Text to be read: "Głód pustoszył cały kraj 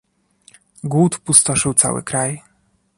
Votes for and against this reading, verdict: 2, 0, accepted